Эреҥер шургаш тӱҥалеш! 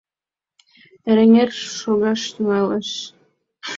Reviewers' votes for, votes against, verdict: 1, 2, rejected